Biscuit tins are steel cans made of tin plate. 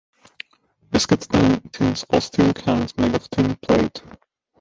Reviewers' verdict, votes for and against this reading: rejected, 0, 2